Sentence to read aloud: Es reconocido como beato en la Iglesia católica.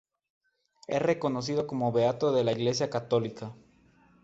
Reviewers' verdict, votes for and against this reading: rejected, 2, 2